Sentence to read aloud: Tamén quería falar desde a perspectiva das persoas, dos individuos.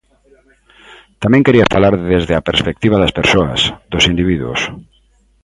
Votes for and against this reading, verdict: 2, 0, accepted